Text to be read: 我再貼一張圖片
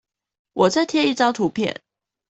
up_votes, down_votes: 2, 0